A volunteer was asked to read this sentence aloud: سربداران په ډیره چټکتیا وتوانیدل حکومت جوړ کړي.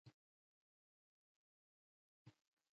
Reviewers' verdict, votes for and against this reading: rejected, 1, 2